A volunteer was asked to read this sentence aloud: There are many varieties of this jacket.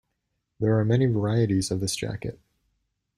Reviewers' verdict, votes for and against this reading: accepted, 2, 0